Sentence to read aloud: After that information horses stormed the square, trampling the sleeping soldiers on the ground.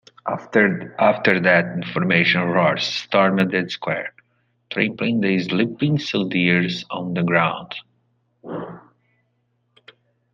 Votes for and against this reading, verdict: 0, 2, rejected